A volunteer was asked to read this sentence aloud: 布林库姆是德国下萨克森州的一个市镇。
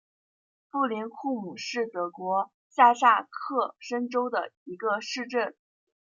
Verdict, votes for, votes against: rejected, 0, 2